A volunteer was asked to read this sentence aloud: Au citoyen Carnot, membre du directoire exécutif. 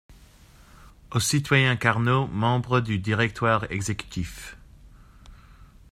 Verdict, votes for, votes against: accepted, 2, 0